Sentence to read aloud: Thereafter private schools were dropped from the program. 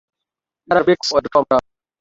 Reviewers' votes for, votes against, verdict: 0, 2, rejected